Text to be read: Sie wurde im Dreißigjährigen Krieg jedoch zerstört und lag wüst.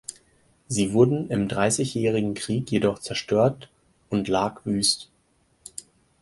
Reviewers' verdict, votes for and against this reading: rejected, 0, 4